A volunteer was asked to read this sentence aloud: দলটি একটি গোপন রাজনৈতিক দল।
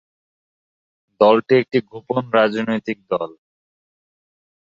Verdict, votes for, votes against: accepted, 6, 2